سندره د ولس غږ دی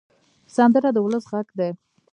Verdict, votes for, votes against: rejected, 1, 2